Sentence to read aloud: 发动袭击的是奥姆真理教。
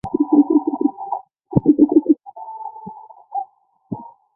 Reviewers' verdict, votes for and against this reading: rejected, 2, 3